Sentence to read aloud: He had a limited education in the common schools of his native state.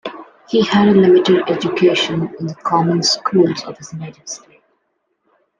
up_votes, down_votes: 2, 0